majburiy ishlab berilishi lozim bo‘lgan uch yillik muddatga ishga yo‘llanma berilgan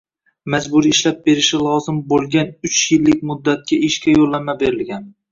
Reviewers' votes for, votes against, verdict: 1, 2, rejected